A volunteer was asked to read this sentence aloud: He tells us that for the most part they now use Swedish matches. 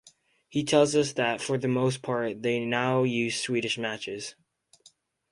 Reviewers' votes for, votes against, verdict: 4, 0, accepted